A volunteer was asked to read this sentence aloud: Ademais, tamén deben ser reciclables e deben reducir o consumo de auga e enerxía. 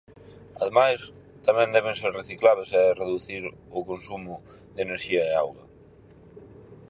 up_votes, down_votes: 0, 4